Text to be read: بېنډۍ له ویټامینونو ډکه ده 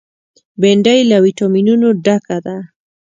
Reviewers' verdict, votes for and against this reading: accepted, 2, 0